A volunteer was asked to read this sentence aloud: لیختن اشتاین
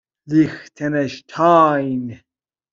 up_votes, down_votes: 2, 0